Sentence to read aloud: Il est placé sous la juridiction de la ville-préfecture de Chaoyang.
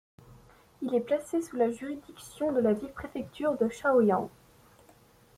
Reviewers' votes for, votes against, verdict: 1, 2, rejected